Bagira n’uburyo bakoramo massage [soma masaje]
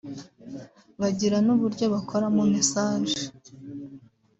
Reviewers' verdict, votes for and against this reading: rejected, 1, 2